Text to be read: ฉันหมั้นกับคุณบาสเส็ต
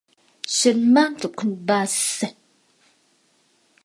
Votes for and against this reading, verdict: 3, 0, accepted